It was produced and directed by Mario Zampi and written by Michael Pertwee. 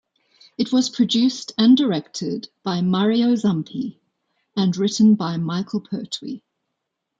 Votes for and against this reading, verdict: 2, 0, accepted